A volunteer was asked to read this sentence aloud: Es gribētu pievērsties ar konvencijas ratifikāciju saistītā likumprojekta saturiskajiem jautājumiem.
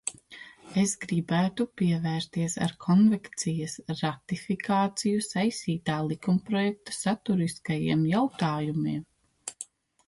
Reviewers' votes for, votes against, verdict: 0, 2, rejected